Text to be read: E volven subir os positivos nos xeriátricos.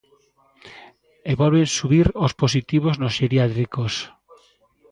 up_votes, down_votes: 1, 2